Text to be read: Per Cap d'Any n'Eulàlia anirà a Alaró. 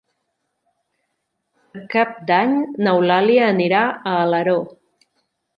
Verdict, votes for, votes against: rejected, 0, 2